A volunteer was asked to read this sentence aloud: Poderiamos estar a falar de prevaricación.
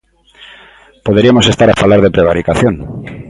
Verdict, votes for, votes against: rejected, 1, 2